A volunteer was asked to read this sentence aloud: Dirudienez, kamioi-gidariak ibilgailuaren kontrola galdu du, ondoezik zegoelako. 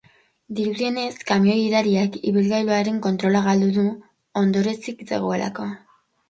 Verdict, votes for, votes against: rejected, 0, 2